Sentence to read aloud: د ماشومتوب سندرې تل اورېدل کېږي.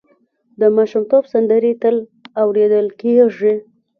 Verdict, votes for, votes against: rejected, 1, 2